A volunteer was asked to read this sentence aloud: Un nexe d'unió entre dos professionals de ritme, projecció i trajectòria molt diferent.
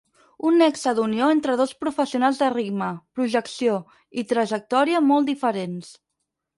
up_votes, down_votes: 2, 4